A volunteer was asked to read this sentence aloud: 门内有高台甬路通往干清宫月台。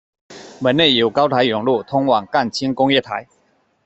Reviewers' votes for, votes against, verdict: 2, 0, accepted